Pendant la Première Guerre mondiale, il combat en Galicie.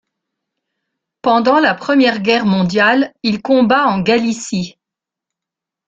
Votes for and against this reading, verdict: 2, 1, accepted